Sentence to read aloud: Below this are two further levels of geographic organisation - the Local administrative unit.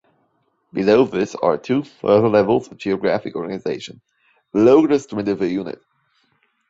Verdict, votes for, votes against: rejected, 0, 2